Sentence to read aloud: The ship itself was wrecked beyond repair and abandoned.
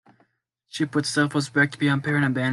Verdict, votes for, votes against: rejected, 0, 2